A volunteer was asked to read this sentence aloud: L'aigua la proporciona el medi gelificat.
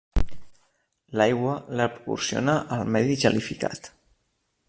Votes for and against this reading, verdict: 1, 2, rejected